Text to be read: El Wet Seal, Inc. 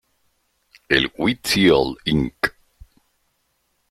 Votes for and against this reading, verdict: 0, 2, rejected